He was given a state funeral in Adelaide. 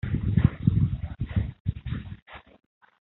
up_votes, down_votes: 0, 2